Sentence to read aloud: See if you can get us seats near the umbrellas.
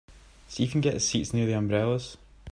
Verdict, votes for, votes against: accepted, 3, 0